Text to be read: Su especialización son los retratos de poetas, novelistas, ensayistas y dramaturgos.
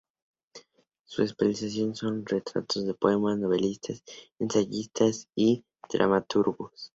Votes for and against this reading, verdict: 0, 2, rejected